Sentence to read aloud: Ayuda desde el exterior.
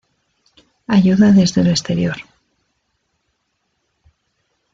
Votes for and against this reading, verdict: 2, 0, accepted